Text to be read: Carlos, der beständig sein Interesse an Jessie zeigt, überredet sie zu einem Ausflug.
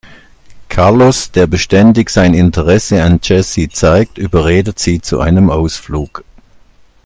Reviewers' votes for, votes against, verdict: 2, 0, accepted